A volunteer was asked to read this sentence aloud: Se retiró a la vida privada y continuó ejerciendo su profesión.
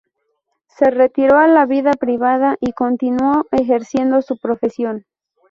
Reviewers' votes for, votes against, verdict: 0, 2, rejected